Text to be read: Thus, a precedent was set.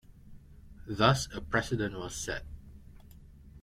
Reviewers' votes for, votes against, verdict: 3, 1, accepted